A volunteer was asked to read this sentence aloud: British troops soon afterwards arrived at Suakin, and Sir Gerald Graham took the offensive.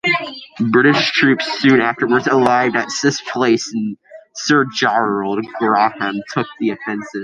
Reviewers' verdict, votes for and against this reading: rejected, 0, 2